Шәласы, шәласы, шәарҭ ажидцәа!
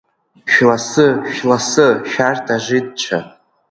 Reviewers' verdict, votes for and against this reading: accepted, 2, 1